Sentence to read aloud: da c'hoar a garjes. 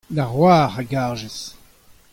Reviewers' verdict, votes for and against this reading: accepted, 2, 0